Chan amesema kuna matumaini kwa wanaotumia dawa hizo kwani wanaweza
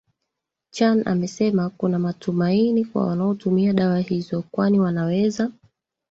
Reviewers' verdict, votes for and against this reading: rejected, 0, 2